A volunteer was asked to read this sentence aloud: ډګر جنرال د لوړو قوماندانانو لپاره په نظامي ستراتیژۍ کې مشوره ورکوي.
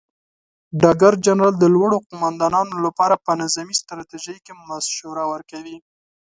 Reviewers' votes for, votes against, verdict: 2, 0, accepted